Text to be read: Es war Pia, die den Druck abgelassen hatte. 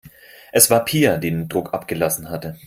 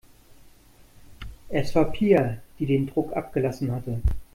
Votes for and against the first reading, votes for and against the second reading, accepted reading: 0, 4, 2, 0, second